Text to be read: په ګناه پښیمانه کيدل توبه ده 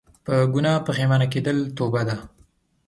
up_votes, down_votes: 2, 0